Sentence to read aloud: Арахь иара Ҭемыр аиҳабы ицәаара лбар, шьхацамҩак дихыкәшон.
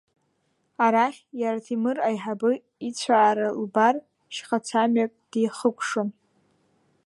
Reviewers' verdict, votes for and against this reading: accepted, 2, 1